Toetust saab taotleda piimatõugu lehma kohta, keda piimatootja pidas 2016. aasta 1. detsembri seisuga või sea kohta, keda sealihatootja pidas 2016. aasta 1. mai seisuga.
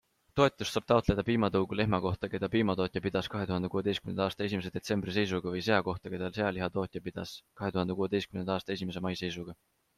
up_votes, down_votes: 0, 2